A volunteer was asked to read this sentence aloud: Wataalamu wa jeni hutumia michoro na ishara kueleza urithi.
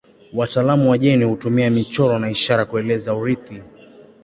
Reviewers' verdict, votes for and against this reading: accepted, 2, 0